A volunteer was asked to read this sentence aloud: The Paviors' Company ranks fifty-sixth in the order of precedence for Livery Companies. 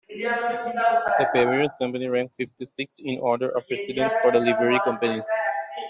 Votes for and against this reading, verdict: 0, 2, rejected